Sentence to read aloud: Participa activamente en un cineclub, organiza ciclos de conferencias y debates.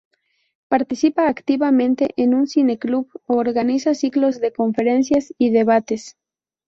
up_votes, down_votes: 2, 0